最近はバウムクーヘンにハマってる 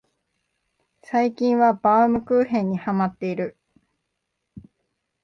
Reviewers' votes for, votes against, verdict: 2, 0, accepted